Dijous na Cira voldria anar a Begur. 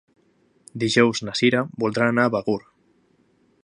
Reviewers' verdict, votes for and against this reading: rejected, 0, 2